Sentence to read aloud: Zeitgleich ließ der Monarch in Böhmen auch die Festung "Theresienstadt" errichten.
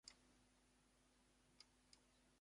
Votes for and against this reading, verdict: 0, 2, rejected